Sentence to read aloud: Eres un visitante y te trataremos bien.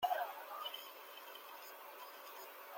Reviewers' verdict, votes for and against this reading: rejected, 0, 2